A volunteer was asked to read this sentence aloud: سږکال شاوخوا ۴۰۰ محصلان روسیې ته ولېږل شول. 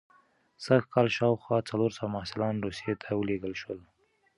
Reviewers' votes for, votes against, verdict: 0, 2, rejected